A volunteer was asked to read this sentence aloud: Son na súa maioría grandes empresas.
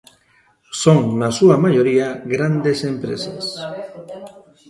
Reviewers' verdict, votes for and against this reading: rejected, 0, 2